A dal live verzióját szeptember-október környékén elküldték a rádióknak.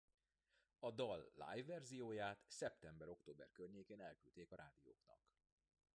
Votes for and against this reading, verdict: 1, 2, rejected